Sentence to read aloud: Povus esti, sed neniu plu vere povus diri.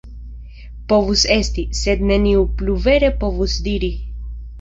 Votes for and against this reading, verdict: 2, 0, accepted